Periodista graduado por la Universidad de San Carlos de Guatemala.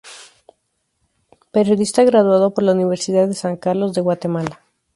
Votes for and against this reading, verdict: 2, 0, accepted